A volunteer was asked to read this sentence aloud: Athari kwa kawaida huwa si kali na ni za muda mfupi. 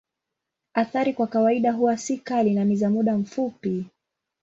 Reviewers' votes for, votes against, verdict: 3, 0, accepted